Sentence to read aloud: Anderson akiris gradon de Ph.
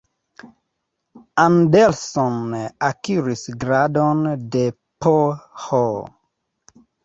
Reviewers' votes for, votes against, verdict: 2, 0, accepted